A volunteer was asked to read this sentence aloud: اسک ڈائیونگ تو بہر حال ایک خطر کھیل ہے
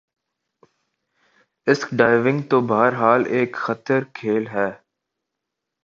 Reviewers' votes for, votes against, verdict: 3, 0, accepted